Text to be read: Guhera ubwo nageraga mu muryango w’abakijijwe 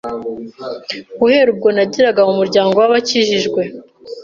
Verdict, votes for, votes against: accepted, 2, 0